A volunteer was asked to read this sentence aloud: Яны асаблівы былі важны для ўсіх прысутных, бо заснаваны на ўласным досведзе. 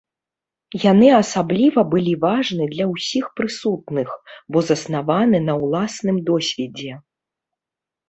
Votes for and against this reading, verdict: 0, 2, rejected